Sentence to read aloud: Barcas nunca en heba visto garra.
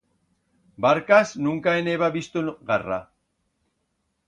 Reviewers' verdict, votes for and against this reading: rejected, 1, 2